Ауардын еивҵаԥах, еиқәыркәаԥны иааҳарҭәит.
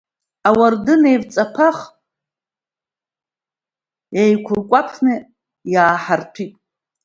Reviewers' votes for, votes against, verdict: 2, 0, accepted